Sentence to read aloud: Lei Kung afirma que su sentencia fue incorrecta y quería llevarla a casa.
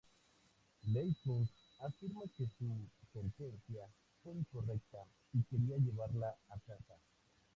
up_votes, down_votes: 2, 4